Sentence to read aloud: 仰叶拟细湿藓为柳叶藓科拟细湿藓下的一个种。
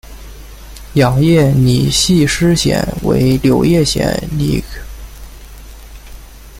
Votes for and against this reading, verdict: 0, 2, rejected